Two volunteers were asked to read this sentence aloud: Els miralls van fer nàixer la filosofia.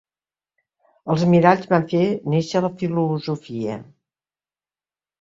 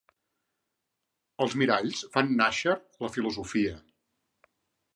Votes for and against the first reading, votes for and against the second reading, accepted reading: 2, 1, 1, 2, first